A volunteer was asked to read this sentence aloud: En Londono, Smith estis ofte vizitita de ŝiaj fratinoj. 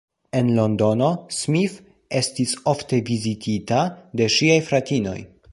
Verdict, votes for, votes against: accepted, 2, 0